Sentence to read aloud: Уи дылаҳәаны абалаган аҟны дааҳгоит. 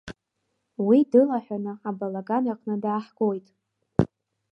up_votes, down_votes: 3, 0